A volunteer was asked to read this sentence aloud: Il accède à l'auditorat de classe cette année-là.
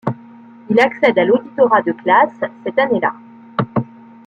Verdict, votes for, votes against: rejected, 0, 2